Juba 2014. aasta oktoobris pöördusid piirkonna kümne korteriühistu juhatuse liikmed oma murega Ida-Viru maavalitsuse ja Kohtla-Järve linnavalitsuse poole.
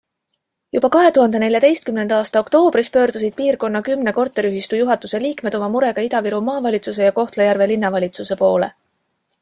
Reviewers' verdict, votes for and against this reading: rejected, 0, 2